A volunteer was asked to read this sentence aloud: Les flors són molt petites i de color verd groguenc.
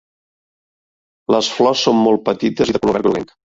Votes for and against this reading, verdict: 0, 2, rejected